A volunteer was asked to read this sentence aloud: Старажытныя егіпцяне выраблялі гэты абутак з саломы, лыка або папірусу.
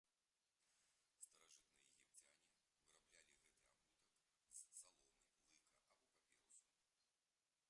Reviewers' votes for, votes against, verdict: 0, 2, rejected